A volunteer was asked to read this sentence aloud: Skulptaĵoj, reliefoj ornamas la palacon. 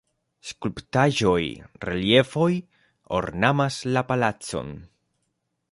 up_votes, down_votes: 2, 0